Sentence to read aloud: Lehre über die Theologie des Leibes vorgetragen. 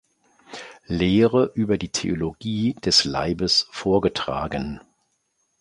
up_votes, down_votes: 2, 0